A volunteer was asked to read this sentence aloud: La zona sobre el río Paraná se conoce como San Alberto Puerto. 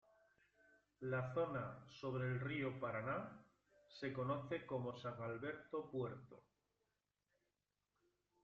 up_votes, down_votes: 1, 2